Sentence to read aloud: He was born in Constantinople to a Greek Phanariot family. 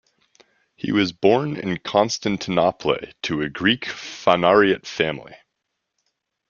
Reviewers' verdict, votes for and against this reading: rejected, 0, 2